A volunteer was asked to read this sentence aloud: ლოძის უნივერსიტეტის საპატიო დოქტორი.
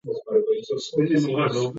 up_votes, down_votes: 0, 2